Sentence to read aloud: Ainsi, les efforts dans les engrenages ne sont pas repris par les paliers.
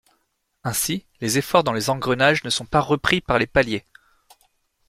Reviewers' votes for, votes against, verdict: 2, 0, accepted